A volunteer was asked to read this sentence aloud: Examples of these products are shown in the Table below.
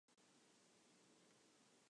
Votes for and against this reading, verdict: 0, 2, rejected